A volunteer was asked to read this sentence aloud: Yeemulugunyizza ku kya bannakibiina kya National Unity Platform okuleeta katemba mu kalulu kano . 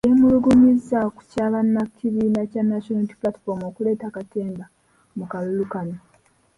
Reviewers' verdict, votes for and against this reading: accepted, 2, 0